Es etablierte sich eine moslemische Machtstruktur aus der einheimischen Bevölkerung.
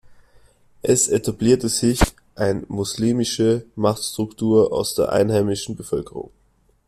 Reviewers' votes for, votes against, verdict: 1, 2, rejected